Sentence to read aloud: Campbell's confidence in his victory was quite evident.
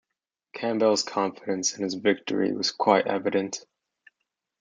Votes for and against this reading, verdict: 2, 0, accepted